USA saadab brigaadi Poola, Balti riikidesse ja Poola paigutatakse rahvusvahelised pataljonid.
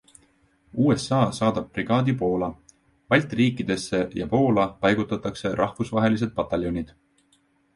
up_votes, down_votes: 2, 1